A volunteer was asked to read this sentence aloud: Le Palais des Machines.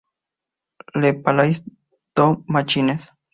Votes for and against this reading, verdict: 0, 2, rejected